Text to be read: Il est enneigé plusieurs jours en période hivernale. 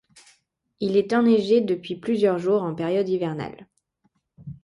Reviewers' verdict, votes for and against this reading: rejected, 1, 2